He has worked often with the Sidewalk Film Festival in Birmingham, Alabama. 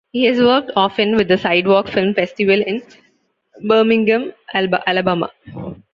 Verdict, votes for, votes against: accepted, 2, 1